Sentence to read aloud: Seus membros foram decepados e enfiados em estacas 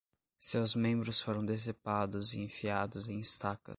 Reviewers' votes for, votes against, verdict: 0, 10, rejected